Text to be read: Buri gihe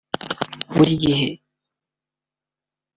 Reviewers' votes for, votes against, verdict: 2, 0, accepted